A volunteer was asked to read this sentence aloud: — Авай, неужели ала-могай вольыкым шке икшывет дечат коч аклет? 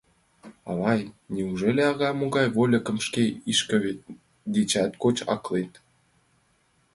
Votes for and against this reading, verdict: 1, 2, rejected